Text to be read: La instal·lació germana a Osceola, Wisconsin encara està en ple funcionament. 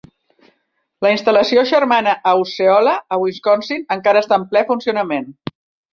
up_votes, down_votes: 1, 2